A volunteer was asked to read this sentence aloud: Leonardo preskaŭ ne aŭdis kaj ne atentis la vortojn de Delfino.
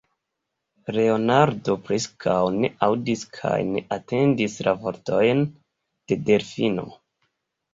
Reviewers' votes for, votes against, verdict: 1, 2, rejected